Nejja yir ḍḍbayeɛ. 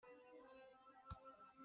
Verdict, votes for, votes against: rejected, 0, 2